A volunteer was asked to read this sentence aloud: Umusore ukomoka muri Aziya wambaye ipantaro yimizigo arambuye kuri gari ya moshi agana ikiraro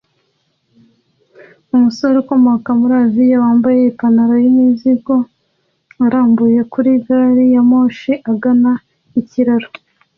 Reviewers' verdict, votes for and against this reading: accepted, 2, 0